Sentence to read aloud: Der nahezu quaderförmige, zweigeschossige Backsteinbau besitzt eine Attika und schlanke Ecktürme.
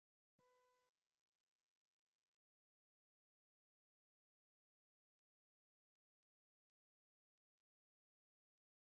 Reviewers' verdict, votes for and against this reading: rejected, 0, 2